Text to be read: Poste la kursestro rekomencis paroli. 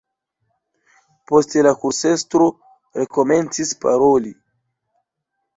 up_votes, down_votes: 2, 0